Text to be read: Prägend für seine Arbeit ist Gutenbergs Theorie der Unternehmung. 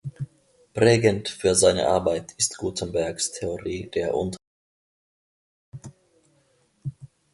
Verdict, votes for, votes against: rejected, 0, 2